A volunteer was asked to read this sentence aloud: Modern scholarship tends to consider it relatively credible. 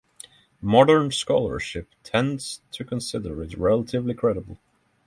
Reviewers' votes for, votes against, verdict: 3, 0, accepted